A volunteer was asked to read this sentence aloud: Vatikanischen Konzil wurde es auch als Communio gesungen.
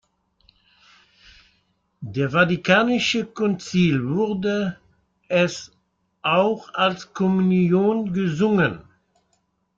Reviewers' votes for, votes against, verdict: 1, 2, rejected